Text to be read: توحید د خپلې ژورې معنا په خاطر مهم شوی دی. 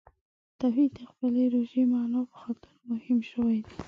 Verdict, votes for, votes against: accepted, 2, 1